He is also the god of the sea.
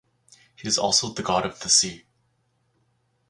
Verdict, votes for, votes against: accepted, 4, 0